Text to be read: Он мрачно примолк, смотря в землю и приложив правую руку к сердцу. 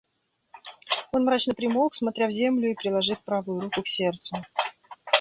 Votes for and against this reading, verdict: 1, 2, rejected